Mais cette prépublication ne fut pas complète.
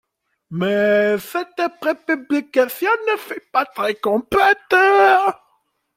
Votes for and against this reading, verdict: 0, 2, rejected